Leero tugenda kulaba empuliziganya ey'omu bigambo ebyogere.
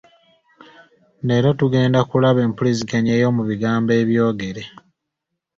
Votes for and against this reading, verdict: 2, 0, accepted